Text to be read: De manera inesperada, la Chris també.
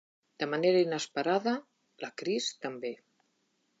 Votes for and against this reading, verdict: 2, 0, accepted